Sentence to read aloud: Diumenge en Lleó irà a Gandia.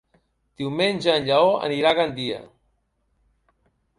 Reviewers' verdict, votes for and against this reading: rejected, 1, 2